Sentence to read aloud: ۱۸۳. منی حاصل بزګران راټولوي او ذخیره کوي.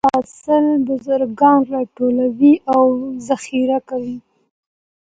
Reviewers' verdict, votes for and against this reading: rejected, 0, 2